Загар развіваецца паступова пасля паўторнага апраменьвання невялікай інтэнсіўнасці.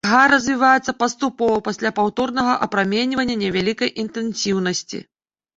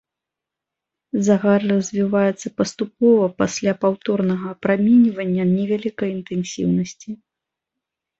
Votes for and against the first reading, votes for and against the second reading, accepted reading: 0, 2, 2, 0, second